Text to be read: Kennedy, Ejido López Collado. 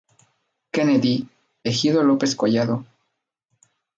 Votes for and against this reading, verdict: 0, 2, rejected